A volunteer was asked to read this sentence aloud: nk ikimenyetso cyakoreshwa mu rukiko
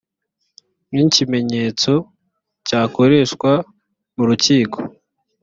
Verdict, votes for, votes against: accepted, 2, 0